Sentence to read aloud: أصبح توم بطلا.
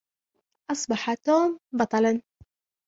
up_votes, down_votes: 2, 0